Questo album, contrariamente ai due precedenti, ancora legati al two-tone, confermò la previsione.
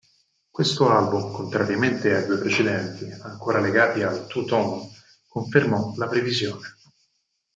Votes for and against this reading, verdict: 2, 4, rejected